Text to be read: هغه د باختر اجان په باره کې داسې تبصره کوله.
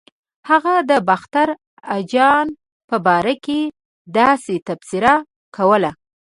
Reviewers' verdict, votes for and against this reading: accepted, 2, 0